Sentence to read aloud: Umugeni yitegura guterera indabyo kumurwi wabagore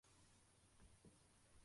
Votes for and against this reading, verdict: 0, 2, rejected